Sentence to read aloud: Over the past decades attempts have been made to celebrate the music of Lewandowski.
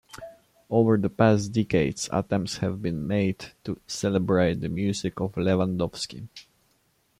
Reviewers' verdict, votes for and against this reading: accepted, 2, 0